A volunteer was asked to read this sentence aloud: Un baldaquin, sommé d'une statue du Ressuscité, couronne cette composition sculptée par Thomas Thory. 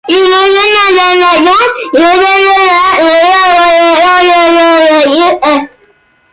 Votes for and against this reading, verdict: 0, 2, rejected